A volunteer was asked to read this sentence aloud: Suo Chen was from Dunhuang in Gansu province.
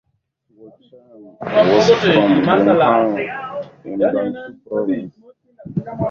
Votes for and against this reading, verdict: 0, 2, rejected